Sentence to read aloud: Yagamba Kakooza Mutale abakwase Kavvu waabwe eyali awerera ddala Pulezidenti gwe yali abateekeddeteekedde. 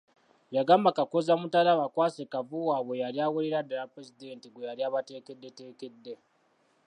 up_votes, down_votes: 2, 1